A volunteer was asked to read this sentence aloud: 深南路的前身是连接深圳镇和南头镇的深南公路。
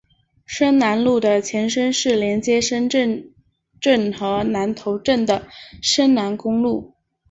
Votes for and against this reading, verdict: 2, 1, accepted